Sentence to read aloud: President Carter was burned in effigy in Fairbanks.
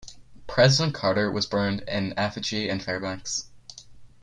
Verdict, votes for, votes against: accepted, 8, 0